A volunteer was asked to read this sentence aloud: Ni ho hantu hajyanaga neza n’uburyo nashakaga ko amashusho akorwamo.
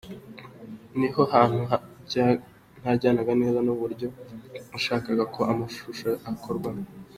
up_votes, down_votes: 2, 0